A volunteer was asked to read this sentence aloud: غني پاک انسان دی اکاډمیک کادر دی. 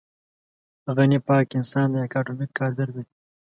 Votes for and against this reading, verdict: 2, 1, accepted